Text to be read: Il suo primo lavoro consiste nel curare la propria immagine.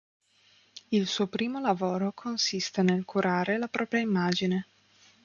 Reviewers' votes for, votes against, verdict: 2, 0, accepted